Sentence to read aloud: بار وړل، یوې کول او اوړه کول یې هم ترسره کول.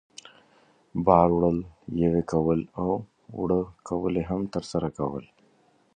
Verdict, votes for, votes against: accepted, 2, 0